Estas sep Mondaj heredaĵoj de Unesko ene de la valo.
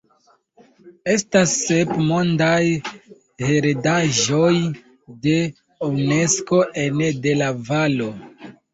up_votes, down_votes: 2, 1